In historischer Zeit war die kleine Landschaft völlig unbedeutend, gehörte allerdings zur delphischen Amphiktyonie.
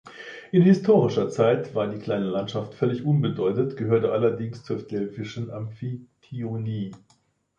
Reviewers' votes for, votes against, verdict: 1, 2, rejected